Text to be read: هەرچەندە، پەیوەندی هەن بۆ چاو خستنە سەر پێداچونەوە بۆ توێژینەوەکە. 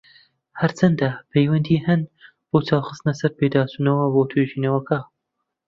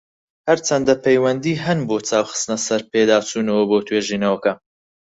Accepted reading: second